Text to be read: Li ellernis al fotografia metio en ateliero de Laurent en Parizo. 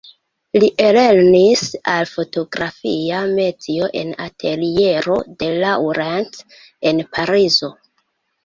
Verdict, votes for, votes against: rejected, 0, 2